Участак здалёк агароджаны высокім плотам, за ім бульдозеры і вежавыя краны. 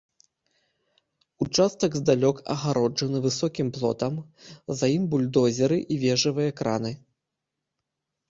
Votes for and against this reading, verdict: 2, 0, accepted